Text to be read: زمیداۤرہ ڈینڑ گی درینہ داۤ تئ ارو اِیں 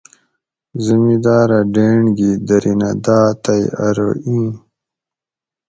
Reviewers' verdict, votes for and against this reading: accepted, 4, 0